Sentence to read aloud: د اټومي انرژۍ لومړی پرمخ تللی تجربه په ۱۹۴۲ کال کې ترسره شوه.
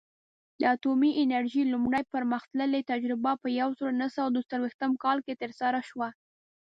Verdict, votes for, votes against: rejected, 0, 2